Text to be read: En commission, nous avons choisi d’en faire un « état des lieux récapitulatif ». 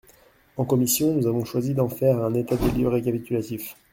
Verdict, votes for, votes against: accepted, 2, 0